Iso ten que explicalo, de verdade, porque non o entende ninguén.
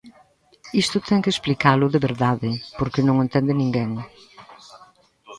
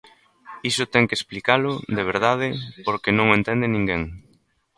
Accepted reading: second